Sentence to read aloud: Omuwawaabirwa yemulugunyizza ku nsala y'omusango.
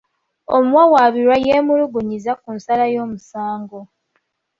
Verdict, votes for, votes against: accepted, 2, 0